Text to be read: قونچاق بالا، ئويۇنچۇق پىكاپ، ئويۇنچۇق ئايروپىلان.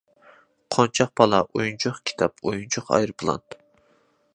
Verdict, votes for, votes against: accepted, 2, 0